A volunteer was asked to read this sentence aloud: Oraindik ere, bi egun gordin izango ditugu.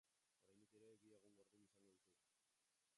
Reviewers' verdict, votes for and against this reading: rejected, 0, 3